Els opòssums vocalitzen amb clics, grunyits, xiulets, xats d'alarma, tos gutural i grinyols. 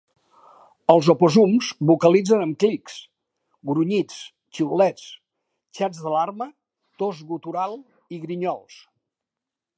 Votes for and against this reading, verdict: 0, 2, rejected